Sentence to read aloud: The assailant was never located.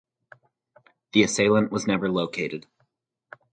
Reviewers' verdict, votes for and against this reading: accepted, 2, 0